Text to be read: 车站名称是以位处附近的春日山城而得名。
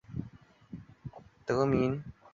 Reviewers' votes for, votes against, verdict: 0, 3, rejected